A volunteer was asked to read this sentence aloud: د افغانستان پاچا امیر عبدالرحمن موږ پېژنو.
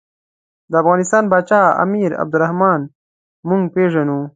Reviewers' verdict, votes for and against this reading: accepted, 2, 0